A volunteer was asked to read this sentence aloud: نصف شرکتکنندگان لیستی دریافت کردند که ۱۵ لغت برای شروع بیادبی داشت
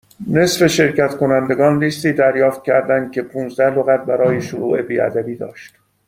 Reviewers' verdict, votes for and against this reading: rejected, 0, 2